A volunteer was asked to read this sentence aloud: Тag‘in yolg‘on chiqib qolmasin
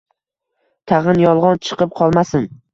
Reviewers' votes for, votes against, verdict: 2, 0, accepted